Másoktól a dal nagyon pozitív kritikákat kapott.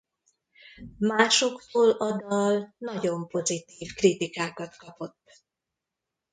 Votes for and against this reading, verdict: 1, 2, rejected